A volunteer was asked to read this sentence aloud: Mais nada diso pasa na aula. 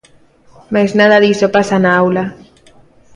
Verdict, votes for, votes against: accepted, 2, 0